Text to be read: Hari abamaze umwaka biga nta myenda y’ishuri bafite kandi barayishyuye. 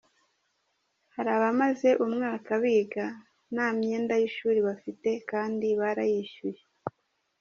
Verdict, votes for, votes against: accepted, 2, 0